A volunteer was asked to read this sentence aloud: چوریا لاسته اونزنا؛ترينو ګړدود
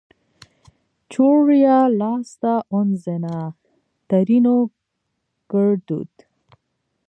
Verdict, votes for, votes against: rejected, 0, 2